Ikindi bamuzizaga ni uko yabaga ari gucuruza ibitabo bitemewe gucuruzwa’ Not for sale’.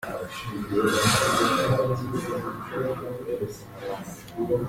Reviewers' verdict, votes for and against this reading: rejected, 0, 2